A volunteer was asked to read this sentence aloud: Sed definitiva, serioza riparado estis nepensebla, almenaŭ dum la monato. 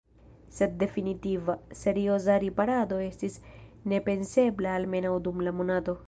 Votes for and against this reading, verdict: 2, 0, accepted